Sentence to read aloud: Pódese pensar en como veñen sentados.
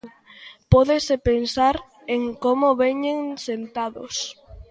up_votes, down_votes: 2, 0